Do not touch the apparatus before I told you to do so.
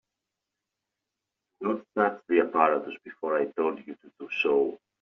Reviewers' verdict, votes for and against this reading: rejected, 1, 2